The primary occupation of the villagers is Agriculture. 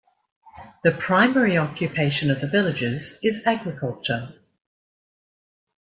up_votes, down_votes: 2, 0